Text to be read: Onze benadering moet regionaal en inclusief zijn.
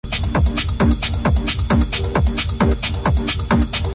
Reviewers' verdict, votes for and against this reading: rejected, 0, 2